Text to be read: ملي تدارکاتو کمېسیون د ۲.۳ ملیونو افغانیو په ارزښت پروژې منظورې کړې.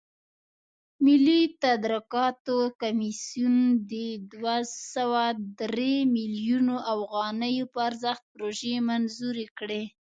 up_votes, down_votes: 0, 2